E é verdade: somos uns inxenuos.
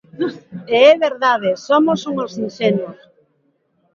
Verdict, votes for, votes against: accepted, 2, 1